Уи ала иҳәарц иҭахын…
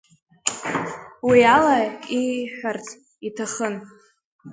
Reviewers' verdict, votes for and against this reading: rejected, 0, 2